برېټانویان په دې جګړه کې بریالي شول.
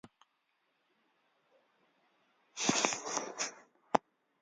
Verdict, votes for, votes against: rejected, 0, 2